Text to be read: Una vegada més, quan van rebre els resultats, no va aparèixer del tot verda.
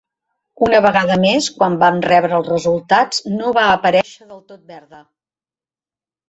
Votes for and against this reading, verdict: 0, 2, rejected